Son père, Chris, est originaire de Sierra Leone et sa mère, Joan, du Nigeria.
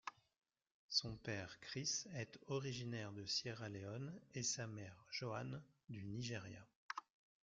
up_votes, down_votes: 2, 0